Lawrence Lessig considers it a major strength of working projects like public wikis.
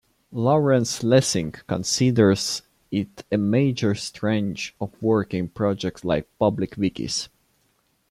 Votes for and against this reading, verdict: 1, 2, rejected